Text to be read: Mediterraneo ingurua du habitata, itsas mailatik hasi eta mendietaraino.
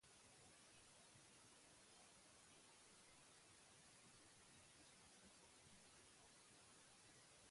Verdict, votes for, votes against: rejected, 0, 2